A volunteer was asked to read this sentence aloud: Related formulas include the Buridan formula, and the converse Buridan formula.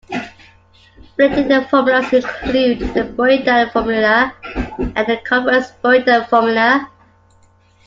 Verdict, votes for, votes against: rejected, 0, 2